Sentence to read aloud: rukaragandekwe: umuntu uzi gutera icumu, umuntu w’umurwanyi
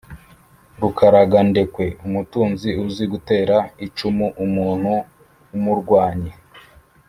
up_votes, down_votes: 1, 2